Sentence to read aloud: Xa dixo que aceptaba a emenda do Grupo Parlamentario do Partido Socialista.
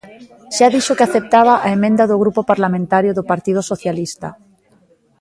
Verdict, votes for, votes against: accepted, 2, 0